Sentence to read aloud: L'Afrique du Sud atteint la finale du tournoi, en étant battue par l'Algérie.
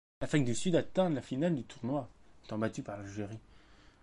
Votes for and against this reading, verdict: 1, 2, rejected